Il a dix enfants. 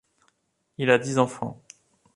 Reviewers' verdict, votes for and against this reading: accepted, 2, 0